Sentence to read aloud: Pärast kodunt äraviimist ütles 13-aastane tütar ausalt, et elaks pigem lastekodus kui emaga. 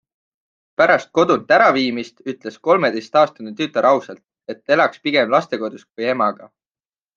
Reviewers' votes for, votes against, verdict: 0, 2, rejected